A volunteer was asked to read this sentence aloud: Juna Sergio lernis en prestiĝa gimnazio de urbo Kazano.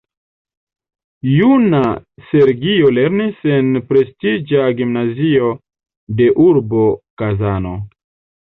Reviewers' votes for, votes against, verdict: 2, 1, accepted